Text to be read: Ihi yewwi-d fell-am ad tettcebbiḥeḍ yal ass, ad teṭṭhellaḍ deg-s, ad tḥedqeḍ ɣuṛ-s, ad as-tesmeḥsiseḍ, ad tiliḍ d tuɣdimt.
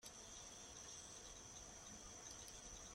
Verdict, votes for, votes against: rejected, 0, 2